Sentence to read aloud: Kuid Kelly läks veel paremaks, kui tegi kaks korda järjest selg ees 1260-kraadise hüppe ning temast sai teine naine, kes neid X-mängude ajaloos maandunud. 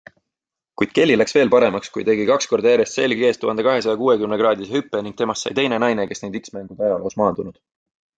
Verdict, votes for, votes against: rejected, 0, 2